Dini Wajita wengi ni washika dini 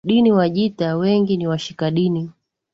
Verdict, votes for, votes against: accepted, 2, 0